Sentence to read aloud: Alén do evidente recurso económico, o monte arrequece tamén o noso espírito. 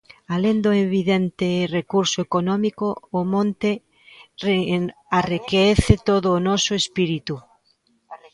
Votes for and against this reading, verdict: 0, 2, rejected